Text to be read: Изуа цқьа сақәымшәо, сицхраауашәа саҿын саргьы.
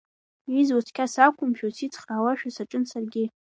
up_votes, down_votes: 2, 1